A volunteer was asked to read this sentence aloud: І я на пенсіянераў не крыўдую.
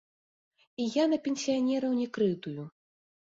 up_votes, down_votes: 0, 2